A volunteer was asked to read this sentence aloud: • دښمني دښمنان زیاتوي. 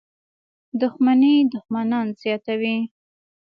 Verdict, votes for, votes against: accepted, 3, 0